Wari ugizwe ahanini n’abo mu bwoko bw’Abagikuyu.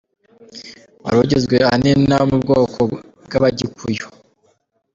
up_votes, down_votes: 2, 0